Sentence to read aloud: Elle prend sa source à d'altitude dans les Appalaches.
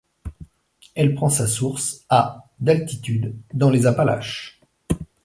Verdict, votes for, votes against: accepted, 2, 0